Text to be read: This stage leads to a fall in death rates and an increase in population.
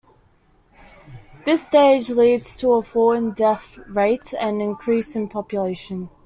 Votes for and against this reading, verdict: 1, 2, rejected